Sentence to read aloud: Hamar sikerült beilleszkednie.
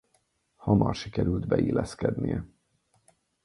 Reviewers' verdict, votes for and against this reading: accepted, 4, 0